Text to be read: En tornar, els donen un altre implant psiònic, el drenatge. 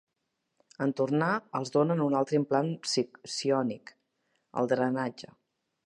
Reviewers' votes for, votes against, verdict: 1, 2, rejected